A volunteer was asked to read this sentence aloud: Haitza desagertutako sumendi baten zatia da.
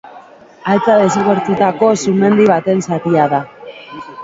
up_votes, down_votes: 2, 3